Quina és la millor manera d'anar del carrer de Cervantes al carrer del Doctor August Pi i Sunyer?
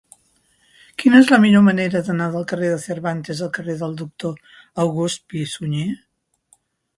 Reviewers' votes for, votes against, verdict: 3, 0, accepted